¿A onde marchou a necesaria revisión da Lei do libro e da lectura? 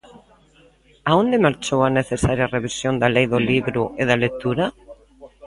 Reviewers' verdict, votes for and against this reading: rejected, 0, 2